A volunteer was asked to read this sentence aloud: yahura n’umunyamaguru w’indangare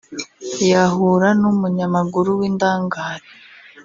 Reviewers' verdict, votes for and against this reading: rejected, 1, 2